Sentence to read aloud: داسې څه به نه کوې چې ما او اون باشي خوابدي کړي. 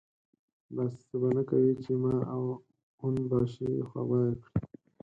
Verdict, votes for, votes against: rejected, 0, 4